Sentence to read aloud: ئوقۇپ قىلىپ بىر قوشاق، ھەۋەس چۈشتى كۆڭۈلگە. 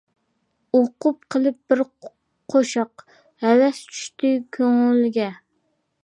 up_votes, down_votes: 2, 0